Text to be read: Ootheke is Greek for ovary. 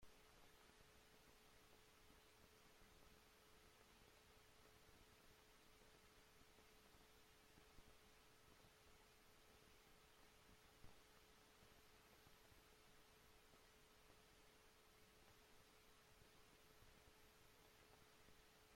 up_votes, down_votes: 0, 2